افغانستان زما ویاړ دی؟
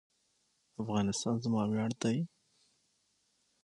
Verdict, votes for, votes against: accepted, 6, 0